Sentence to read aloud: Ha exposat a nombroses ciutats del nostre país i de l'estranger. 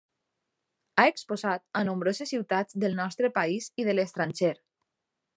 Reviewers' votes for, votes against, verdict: 3, 0, accepted